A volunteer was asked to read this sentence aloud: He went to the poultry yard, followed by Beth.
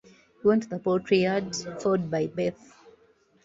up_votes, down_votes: 2, 0